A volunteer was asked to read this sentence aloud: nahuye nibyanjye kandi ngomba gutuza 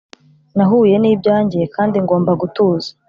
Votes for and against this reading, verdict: 2, 0, accepted